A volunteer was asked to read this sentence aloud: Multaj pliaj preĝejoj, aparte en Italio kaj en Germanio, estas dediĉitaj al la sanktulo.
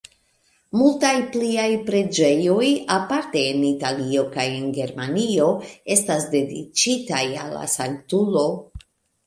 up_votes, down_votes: 2, 0